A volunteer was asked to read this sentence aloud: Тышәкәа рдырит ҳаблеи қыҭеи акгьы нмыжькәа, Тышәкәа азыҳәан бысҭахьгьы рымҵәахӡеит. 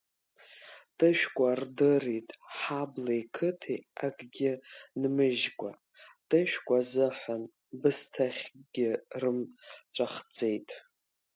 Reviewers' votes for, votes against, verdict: 1, 2, rejected